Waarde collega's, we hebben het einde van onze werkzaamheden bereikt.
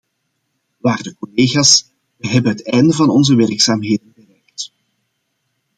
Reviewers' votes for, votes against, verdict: 0, 2, rejected